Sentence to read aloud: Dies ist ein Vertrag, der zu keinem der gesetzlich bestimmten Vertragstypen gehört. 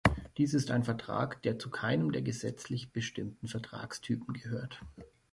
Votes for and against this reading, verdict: 3, 0, accepted